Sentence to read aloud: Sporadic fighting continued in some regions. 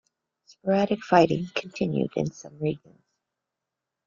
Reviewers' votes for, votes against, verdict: 3, 2, accepted